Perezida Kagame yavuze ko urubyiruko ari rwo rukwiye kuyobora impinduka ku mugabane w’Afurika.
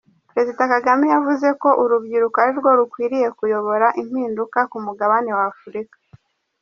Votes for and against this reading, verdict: 0, 2, rejected